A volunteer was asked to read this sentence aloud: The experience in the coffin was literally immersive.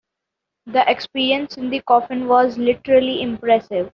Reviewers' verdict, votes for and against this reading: rejected, 0, 3